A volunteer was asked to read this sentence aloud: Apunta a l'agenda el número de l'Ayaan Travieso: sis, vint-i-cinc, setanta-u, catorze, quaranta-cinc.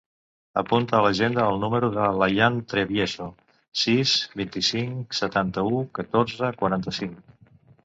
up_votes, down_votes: 1, 2